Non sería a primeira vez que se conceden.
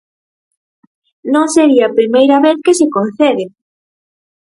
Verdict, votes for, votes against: rejected, 0, 4